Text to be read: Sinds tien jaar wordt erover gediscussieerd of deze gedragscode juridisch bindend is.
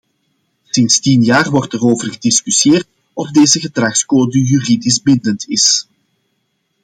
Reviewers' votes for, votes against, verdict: 2, 0, accepted